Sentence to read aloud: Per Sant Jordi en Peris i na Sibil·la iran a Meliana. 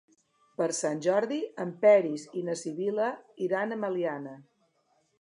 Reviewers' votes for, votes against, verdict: 3, 0, accepted